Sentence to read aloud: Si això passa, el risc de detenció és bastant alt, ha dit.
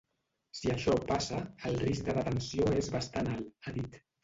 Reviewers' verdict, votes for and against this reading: rejected, 0, 2